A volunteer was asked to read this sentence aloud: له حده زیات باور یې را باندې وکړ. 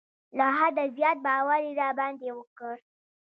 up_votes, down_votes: 0, 2